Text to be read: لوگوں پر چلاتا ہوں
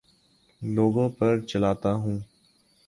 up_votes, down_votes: 4, 0